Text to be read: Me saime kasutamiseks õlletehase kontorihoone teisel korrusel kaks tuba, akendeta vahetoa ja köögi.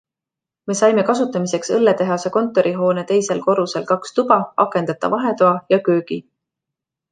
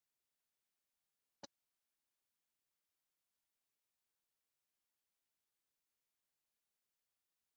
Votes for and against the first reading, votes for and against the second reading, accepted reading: 2, 0, 0, 2, first